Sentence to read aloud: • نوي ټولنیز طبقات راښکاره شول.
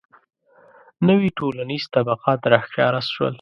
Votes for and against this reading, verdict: 2, 0, accepted